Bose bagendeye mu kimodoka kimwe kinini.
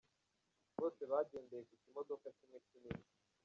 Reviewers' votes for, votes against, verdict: 1, 2, rejected